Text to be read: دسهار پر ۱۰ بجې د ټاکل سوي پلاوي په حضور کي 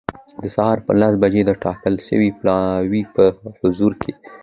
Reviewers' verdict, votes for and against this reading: rejected, 0, 2